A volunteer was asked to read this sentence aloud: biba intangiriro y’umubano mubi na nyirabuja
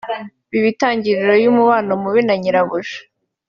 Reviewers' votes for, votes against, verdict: 2, 0, accepted